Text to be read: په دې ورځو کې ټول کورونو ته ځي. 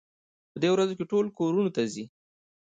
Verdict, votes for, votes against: rejected, 1, 2